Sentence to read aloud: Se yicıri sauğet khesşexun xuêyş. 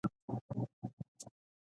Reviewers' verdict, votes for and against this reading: rejected, 0, 2